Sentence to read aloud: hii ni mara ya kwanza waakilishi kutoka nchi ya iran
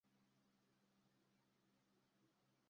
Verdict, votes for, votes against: rejected, 0, 2